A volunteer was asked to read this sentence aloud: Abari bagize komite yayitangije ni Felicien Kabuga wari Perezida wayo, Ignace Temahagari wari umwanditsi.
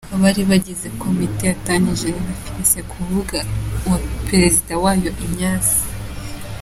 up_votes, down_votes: 0, 3